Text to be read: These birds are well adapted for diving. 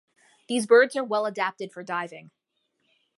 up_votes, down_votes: 2, 0